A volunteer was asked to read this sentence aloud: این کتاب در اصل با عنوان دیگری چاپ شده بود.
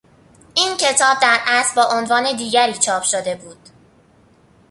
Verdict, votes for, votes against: accepted, 2, 0